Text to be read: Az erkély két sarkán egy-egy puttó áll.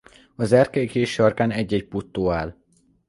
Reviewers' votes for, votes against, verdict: 2, 0, accepted